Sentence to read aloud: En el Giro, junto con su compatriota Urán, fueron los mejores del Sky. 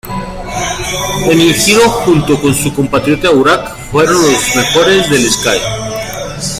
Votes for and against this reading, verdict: 0, 2, rejected